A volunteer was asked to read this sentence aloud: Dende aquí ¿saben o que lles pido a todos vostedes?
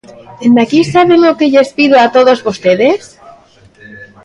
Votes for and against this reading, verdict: 2, 0, accepted